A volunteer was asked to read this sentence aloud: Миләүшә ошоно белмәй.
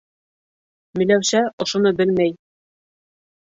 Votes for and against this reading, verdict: 2, 1, accepted